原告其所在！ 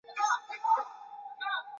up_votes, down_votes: 0, 3